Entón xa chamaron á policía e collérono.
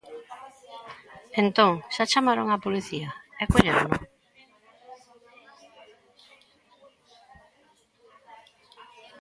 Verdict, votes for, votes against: rejected, 0, 2